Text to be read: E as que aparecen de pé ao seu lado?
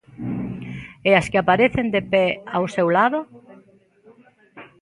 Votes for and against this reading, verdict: 2, 0, accepted